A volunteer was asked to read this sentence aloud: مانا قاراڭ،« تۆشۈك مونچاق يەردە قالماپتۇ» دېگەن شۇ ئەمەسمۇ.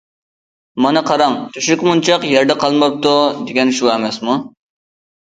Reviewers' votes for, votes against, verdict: 2, 0, accepted